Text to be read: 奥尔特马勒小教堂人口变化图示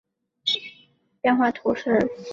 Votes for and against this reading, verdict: 1, 5, rejected